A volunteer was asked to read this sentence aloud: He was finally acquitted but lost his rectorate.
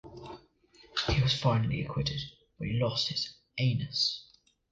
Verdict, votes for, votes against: rejected, 1, 2